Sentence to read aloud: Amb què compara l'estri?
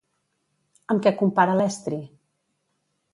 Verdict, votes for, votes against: accepted, 2, 0